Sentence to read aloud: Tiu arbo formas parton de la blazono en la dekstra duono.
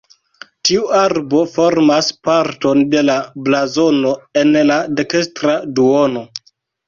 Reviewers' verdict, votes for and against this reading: accepted, 2, 0